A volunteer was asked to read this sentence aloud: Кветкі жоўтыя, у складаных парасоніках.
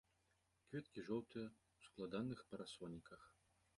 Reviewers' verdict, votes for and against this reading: rejected, 0, 2